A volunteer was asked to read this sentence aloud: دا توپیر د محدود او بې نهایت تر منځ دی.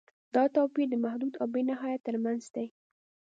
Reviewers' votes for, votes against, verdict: 2, 0, accepted